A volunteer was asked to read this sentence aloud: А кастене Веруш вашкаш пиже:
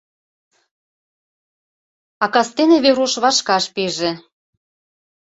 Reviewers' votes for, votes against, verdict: 2, 0, accepted